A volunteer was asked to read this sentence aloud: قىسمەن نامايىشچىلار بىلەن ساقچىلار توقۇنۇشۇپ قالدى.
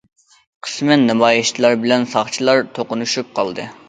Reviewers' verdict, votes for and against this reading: rejected, 1, 2